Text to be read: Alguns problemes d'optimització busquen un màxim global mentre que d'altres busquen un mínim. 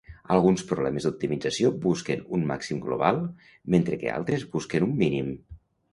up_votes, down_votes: 1, 2